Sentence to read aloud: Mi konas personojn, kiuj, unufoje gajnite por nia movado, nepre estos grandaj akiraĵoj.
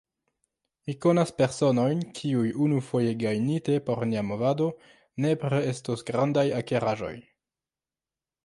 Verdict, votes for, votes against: accepted, 2, 1